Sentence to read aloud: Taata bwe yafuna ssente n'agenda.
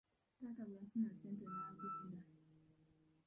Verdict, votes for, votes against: rejected, 0, 3